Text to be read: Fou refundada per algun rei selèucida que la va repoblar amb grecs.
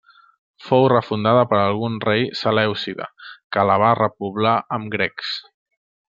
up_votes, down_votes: 2, 0